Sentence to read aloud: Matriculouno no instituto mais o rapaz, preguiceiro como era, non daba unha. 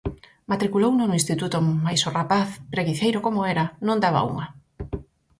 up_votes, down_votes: 4, 0